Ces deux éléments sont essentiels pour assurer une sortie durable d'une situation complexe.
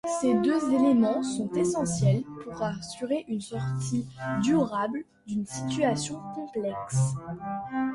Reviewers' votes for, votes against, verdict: 1, 2, rejected